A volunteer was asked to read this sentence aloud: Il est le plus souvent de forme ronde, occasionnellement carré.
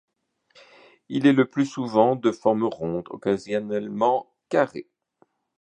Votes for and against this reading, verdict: 2, 1, accepted